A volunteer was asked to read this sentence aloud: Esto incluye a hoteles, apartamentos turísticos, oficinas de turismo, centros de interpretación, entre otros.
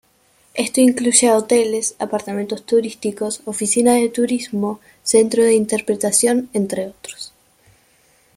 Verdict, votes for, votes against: accepted, 2, 1